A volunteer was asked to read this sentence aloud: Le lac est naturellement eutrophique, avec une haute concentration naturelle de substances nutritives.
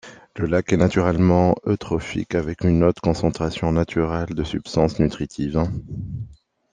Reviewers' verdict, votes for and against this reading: accepted, 2, 0